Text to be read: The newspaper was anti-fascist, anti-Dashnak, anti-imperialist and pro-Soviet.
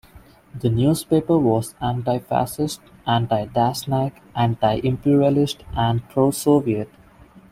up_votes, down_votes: 2, 0